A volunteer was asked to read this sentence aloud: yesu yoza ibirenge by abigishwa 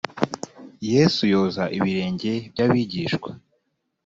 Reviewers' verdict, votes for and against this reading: accepted, 2, 0